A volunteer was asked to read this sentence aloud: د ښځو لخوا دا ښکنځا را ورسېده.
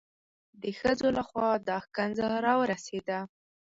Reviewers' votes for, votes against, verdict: 4, 0, accepted